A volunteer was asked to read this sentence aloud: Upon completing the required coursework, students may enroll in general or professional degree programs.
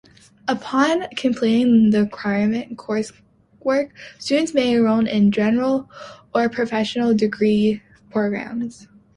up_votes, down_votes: 0, 2